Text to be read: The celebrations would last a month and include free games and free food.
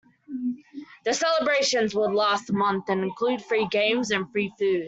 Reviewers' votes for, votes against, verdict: 1, 2, rejected